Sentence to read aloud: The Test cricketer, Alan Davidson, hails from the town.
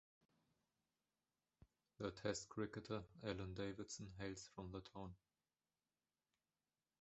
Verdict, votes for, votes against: accepted, 2, 1